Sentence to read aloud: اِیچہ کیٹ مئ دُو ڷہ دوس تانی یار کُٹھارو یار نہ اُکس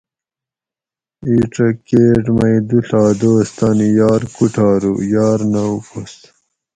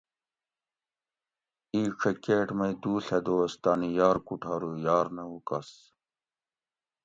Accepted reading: second